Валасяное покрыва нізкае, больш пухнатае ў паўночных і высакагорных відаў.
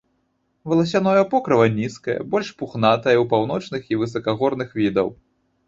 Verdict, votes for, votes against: accepted, 2, 0